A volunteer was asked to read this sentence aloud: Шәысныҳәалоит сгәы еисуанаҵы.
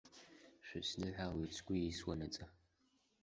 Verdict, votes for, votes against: rejected, 1, 2